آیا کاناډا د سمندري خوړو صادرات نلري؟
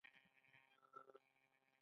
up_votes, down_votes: 0, 2